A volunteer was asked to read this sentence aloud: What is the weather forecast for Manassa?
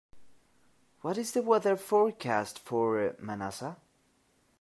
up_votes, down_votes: 2, 0